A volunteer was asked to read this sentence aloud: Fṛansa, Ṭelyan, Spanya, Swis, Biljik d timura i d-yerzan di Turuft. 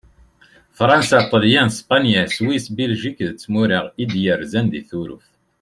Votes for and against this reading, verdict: 1, 2, rejected